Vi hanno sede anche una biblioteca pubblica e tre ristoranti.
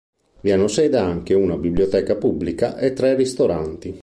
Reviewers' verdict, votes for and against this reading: accepted, 2, 0